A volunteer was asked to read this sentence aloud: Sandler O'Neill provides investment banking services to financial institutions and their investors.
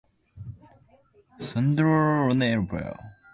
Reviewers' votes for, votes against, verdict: 0, 2, rejected